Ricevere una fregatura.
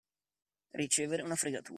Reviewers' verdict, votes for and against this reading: rejected, 0, 2